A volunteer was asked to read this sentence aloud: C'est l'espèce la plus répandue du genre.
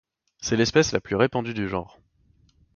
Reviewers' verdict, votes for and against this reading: accepted, 2, 0